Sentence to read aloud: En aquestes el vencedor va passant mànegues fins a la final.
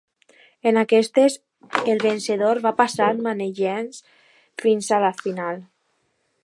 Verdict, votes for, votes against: accepted, 2, 1